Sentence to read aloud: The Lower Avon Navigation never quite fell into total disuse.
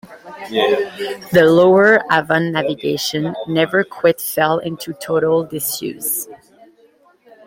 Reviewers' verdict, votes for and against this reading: accepted, 2, 1